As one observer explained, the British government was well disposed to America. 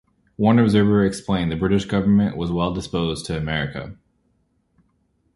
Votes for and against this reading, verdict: 2, 0, accepted